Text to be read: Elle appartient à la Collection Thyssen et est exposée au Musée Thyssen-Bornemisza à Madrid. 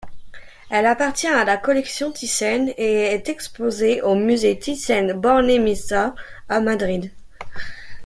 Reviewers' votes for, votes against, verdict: 2, 0, accepted